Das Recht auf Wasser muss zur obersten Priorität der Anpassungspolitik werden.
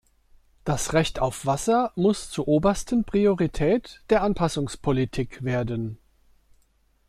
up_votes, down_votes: 2, 0